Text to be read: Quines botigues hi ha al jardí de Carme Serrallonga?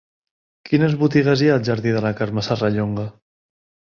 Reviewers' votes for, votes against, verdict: 1, 2, rejected